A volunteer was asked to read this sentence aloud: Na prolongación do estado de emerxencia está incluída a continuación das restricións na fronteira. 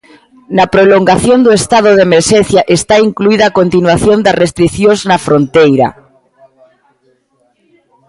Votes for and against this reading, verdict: 2, 0, accepted